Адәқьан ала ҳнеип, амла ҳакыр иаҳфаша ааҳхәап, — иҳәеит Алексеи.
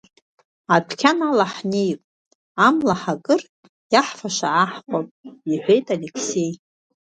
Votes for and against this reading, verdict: 2, 0, accepted